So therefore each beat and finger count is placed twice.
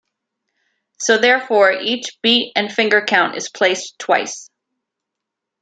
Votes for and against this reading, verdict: 2, 0, accepted